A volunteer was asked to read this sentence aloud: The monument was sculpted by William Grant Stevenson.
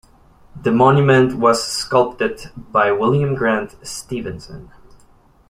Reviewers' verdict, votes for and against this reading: accepted, 2, 0